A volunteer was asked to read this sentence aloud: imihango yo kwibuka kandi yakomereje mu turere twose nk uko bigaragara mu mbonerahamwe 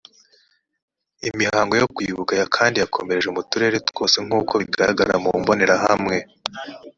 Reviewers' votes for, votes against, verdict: 2, 1, accepted